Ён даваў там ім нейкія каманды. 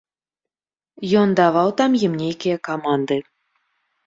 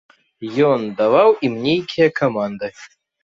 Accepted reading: first